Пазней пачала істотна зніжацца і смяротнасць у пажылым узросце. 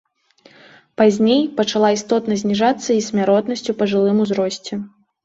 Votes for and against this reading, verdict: 2, 0, accepted